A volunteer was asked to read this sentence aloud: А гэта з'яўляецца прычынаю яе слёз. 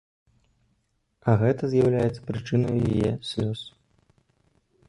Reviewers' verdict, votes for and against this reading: rejected, 0, 2